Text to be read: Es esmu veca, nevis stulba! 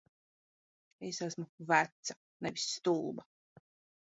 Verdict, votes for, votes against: rejected, 1, 2